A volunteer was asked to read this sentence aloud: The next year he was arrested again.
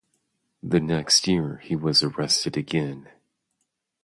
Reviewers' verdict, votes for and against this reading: accepted, 2, 0